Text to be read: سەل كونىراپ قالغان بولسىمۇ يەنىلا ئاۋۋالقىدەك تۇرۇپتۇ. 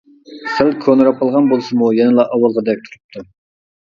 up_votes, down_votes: 1, 2